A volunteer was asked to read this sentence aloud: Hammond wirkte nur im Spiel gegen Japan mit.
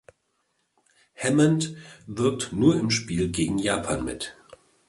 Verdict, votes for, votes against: rejected, 1, 2